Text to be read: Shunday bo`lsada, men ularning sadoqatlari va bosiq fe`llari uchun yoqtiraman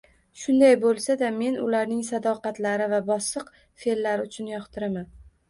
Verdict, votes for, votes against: rejected, 0, 2